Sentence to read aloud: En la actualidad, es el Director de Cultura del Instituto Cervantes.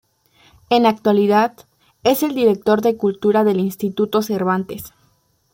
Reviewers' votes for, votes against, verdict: 2, 0, accepted